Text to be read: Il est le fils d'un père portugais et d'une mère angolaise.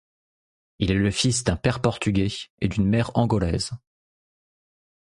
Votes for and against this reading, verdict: 2, 0, accepted